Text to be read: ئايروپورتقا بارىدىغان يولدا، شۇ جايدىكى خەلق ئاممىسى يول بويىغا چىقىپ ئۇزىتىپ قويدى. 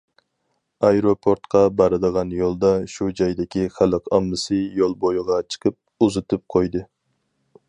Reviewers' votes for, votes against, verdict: 4, 0, accepted